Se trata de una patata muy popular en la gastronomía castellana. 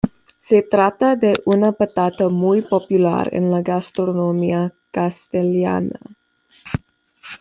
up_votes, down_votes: 1, 2